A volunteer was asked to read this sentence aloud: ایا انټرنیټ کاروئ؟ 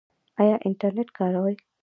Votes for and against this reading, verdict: 2, 0, accepted